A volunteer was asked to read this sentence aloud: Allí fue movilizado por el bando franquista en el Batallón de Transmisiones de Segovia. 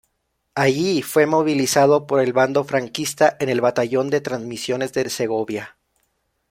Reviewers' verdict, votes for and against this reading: rejected, 0, 2